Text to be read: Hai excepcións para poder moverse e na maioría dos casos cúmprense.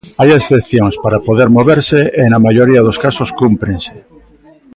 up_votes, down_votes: 2, 1